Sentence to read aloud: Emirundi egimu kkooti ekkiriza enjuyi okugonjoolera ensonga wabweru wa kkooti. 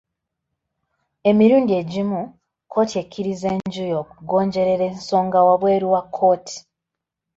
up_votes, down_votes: 2, 1